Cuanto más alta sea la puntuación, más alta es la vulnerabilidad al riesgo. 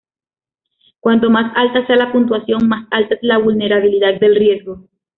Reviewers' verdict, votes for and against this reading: rejected, 0, 2